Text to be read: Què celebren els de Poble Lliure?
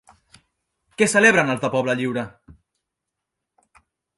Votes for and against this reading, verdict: 0, 2, rejected